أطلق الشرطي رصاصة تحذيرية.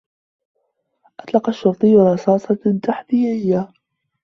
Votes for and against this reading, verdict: 2, 1, accepted